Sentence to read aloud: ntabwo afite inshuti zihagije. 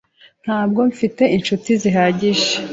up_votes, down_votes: 2, 3